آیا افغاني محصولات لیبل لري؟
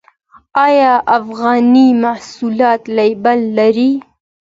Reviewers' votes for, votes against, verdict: 2, 0, accepted